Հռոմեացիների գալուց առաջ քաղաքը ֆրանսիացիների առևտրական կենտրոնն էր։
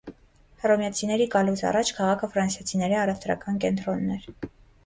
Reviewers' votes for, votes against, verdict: 3, 0, accepted